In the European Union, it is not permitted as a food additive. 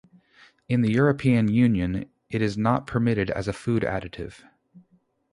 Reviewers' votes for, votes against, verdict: 0, 2, rejected